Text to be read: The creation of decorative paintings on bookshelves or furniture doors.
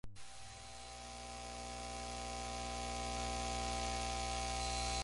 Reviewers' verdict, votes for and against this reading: rejected, 0, 4